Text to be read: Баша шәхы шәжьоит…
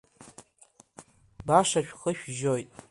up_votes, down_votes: 2, 0